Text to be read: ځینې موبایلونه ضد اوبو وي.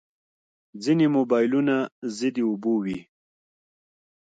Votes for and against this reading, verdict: 3, 0, accepted